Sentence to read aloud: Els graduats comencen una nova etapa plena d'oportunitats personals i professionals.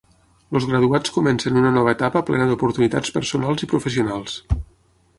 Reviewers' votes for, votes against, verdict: 3, 9, rejected